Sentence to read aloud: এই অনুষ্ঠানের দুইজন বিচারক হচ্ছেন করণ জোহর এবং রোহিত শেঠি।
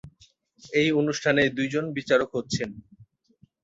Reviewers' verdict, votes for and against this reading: rejected, 2, 8